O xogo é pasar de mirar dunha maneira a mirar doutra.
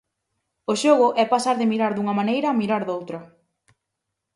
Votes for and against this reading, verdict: 4, 0, accepted